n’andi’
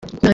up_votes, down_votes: 0, 2